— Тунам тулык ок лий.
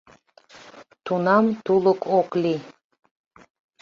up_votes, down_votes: 2, 0